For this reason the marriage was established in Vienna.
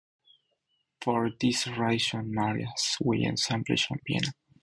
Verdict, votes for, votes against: accepted, 4, 2